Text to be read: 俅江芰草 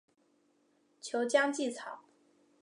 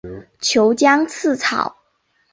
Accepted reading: first